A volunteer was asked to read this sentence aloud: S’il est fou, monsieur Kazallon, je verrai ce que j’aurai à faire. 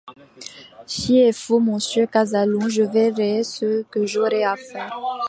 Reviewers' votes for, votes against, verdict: 0, 2, rejected